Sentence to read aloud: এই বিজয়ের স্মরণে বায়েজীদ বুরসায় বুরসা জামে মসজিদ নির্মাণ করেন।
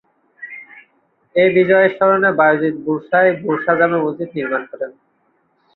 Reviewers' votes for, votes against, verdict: 2, 6, rejected